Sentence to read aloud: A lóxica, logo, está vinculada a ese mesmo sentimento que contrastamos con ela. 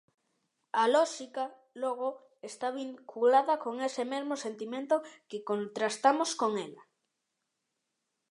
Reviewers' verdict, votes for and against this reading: rejected, 0, 2